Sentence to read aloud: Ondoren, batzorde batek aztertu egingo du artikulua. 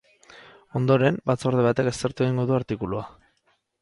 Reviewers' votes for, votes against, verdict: 2, 2, rejected